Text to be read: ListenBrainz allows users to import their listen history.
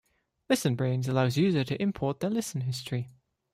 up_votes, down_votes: 1, 2